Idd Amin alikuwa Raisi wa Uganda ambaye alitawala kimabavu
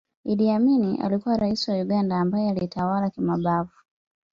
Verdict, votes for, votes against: accepted, 2, 0